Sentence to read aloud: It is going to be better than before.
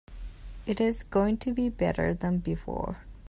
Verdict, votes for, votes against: accepted, 2, 0